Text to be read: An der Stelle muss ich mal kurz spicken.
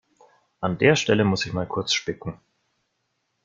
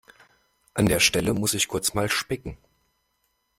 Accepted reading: first